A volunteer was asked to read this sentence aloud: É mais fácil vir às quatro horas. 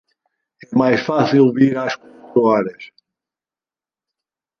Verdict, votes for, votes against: rejected, 0, 2